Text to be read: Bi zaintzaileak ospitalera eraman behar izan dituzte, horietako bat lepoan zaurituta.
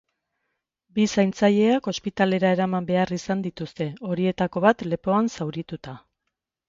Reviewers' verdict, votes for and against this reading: accepted, 2, 0